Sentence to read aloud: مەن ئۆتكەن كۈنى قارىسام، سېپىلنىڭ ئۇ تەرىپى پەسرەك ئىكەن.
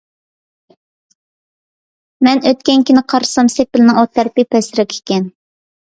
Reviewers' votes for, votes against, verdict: 2, 0, accepted